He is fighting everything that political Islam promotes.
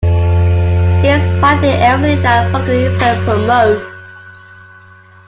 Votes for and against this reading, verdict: 0, 2, rejected